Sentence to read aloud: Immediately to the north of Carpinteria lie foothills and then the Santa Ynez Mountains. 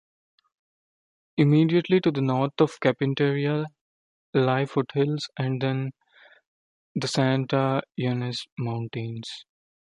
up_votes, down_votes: 0, 2